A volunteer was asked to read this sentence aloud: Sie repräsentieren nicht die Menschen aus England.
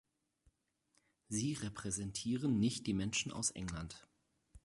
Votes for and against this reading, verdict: 4, 0, accepted